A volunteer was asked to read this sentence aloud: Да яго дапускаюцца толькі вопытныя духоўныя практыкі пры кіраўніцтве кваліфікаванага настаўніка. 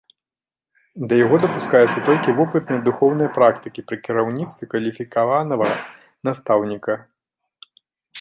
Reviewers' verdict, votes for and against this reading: rejected, 1, 2